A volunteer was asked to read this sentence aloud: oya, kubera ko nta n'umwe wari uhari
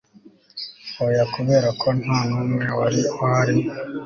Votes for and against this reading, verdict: 3, 0, accepted